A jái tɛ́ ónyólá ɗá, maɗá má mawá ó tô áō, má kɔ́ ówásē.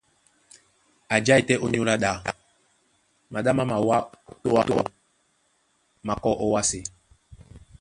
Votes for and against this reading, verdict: 1, 2, rejected